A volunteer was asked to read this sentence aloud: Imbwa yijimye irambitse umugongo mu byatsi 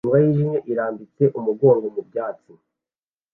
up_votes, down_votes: 2, 0